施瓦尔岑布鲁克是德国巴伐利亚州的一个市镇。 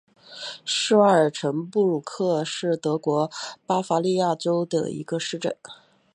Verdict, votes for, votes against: accepted, 7, 0